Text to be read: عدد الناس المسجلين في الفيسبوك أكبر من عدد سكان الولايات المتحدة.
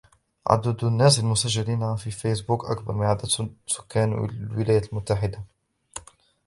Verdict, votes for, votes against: rejected, 0, 2